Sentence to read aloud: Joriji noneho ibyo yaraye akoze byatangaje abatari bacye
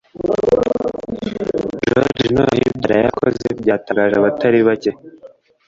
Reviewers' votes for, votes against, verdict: 1, 2, rejected